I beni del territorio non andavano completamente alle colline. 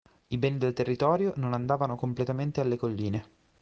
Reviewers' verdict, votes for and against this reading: accepted, 2, 0